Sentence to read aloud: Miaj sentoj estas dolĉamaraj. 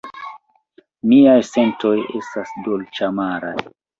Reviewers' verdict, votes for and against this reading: accepted, 2, 0